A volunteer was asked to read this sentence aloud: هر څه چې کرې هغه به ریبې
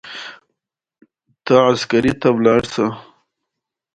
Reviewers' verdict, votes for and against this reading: accepted, 2, 1